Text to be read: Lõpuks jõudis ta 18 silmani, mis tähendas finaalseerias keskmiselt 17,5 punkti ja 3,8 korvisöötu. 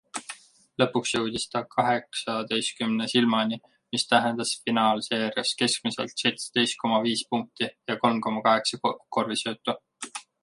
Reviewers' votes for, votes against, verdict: 0, 2, rejected